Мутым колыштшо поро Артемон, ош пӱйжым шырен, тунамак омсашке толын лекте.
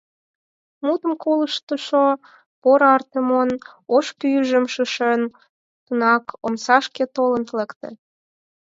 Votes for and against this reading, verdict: 0, 4, rejected